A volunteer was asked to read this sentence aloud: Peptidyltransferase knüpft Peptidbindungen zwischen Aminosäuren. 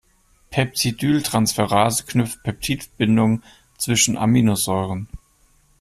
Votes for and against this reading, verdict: 0, 2, rejected